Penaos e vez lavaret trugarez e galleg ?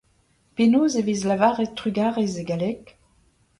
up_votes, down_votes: 2, 1